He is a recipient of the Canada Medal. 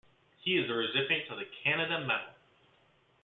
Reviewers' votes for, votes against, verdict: 2, 0, accepted